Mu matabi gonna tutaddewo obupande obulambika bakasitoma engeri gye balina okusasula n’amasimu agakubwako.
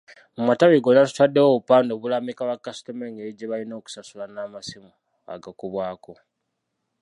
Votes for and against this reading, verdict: 1, 2, rejected